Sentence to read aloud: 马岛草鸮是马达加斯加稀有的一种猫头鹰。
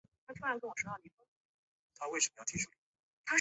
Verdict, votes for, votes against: rejected, 0, 2